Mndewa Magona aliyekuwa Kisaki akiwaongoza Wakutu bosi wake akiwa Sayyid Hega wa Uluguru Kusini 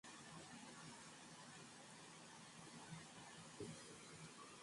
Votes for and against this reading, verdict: 2, 19, rejected